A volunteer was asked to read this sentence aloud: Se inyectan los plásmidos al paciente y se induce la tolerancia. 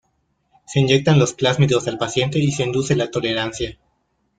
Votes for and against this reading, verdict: 2, 1, accepted